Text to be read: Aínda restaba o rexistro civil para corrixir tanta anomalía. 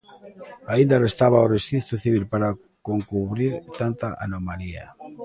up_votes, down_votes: 0, 2